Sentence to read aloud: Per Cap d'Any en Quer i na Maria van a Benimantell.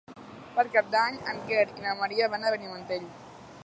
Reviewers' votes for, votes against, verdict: 1, 2, rejected